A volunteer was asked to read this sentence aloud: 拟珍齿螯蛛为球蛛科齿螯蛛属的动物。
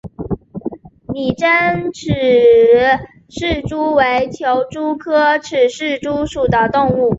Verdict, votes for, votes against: accepted, 5, 2